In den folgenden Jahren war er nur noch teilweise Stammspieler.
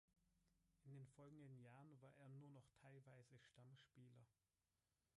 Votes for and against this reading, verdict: 1, 3, rejected